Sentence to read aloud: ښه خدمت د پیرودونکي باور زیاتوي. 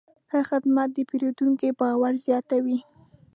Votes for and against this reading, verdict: 2, 0, accepted